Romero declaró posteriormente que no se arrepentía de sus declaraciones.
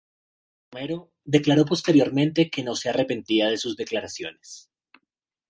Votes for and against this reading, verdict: 0, 2, rejected